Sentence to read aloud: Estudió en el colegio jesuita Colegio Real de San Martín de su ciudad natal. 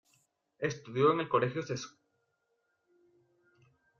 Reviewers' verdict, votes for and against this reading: rejected, 0, 2